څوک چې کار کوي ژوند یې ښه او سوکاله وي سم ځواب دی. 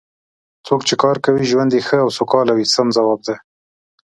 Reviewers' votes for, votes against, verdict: 2, 1, accepted